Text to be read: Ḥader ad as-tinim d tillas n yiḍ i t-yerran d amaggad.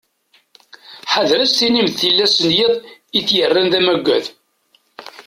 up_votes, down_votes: 2, 0